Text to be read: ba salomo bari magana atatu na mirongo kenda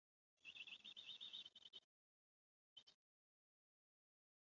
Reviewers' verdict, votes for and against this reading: rejected, 1, 2